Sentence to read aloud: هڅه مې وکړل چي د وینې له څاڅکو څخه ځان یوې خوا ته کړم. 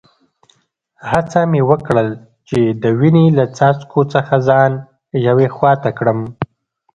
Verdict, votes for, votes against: accepted, 2, 1